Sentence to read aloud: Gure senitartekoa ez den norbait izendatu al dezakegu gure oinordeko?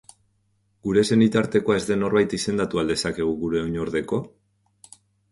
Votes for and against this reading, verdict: 2, 0, accepted